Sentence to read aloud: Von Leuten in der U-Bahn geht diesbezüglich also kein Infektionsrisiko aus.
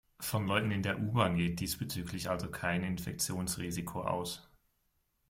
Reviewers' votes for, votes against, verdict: 2, 0, accepted